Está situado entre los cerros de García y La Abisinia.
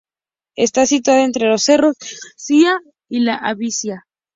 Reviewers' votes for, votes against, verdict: 0, 2, rejected